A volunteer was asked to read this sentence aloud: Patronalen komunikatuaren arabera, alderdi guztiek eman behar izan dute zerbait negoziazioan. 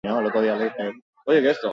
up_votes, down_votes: 0, 4